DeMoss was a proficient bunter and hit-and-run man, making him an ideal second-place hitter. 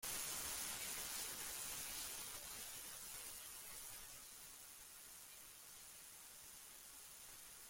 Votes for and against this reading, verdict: 0, 2, rejected